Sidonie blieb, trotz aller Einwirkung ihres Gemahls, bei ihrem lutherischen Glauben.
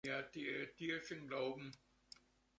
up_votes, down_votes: 0, 2